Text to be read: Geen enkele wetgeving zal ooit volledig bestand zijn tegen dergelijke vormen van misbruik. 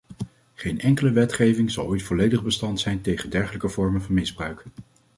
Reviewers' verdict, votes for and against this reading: accepted, 2, 0